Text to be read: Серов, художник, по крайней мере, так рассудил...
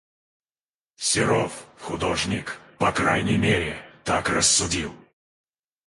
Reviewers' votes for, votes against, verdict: 2, 4, rejected